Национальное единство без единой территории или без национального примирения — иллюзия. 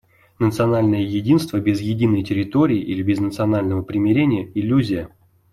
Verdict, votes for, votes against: accepted, 2, 0